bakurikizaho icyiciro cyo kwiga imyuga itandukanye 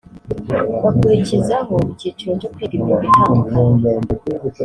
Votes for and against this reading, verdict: 0, 2, rejected